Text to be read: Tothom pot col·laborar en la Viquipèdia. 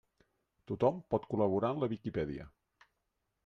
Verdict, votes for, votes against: accepted, 3, 0